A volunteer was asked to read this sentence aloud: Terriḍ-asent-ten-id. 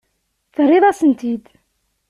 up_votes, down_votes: 0, 2